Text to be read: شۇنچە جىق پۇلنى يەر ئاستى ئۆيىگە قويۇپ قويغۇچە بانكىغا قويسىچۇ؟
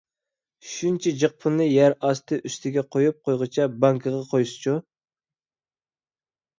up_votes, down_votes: 1, 2